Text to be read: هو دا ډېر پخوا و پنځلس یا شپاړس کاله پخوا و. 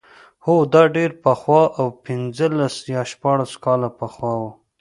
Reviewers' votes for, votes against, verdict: 2, 0, accepted